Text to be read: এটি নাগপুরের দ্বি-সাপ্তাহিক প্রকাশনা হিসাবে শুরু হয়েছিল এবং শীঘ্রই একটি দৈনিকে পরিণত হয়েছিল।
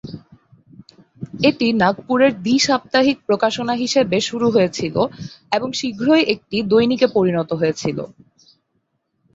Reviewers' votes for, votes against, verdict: 1, 2, rejected